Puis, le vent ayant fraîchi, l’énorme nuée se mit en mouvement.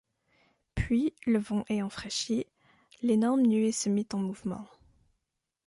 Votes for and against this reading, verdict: 2, 0, accepted